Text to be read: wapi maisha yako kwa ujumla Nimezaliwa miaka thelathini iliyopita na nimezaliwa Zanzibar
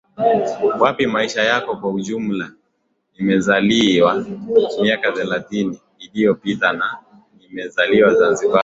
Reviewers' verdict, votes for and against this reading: accepted, 2, 0